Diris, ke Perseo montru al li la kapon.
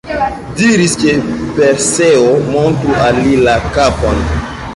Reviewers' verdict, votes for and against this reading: accepted, 2, 0